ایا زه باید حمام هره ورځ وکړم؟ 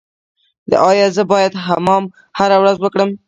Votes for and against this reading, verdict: 1, 2, rejected